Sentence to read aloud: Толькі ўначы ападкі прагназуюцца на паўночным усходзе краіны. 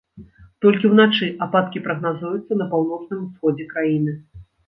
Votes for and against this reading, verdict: 1, 2, rejected